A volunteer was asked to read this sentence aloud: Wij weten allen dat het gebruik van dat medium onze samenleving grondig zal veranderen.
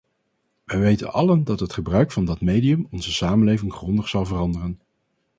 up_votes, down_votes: 2, 0